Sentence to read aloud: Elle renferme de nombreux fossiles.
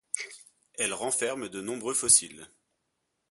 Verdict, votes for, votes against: accepted, 2, 0